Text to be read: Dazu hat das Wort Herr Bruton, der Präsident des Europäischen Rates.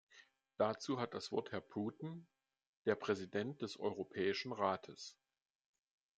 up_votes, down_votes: 2, 0